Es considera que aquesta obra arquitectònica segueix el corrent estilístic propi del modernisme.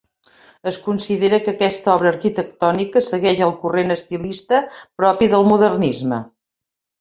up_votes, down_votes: 0, 2